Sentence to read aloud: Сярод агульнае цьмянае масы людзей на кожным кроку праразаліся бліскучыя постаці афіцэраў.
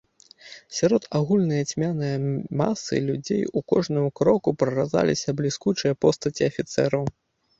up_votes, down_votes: 0, 2